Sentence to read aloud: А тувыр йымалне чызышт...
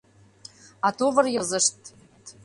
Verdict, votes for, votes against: rejected, 0, 2